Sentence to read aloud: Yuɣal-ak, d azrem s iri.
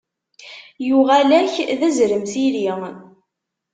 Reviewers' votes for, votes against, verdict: 2, 0, accepted